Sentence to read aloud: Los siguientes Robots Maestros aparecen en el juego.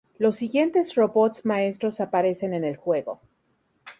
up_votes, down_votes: 2, 0